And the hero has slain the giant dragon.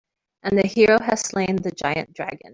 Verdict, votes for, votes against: accepted, 2, 0